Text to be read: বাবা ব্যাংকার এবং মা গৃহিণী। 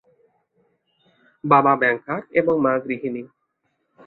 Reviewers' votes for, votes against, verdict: 2, 0, accepted